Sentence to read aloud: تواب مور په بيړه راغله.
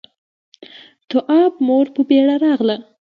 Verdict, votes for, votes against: accepted, 2, 0